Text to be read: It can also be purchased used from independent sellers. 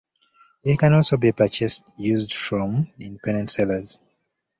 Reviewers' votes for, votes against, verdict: 2, 0, accepted